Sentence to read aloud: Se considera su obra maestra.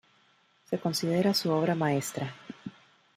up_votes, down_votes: 2, 0